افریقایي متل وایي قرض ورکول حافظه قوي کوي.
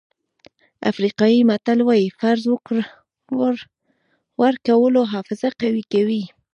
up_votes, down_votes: 1, 2